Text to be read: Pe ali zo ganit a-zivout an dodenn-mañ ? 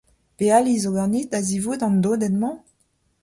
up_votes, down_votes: 2, 0